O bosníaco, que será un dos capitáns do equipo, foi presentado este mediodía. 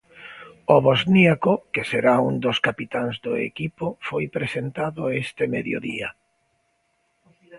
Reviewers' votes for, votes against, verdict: 2, 0, accepted